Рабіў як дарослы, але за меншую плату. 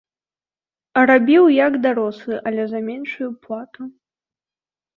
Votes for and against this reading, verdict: 2, 0, accepted